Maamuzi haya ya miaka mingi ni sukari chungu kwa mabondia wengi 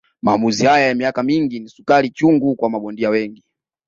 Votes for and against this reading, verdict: 2, 0, accepted